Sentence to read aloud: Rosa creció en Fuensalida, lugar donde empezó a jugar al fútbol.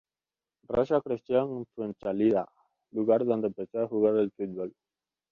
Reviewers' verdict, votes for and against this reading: rejected, 1, 4